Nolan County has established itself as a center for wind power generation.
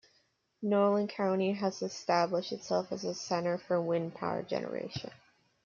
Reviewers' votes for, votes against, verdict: 1, 2, rejected